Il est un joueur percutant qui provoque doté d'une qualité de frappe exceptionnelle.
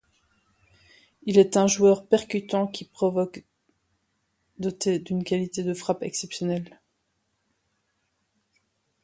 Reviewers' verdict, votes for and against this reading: accepted, 2, 0